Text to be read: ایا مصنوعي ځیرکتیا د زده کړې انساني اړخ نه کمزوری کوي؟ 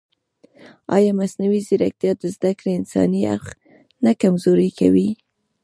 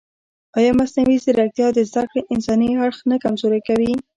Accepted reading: first